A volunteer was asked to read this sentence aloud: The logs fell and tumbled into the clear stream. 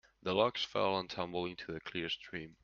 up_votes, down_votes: 2, 0